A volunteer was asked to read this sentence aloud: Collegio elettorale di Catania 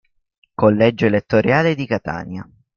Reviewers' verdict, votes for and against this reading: rejected, 1, 2